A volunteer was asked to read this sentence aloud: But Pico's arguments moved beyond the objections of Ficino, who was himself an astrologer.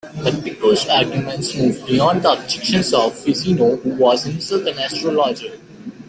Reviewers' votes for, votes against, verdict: 1, 2, rejected